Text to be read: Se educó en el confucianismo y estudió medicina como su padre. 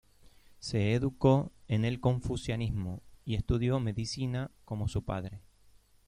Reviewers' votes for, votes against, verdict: 0, 2, rejected